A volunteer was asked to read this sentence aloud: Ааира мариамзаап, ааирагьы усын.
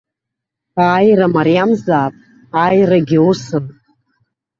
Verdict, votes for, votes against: accepted, 2, 0